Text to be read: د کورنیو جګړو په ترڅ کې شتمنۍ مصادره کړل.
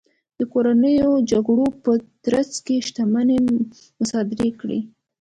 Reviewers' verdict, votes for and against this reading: rejected, 1, 2